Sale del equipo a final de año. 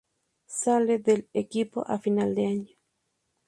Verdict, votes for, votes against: accepted, 2, 0